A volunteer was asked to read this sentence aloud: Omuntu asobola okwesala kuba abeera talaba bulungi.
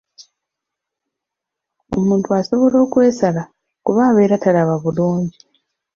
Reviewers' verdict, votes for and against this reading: accepted, 2, 0